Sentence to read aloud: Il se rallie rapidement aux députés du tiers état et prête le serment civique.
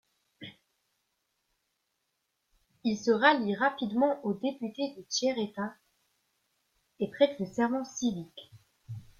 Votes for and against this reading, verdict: 1, 2, rejected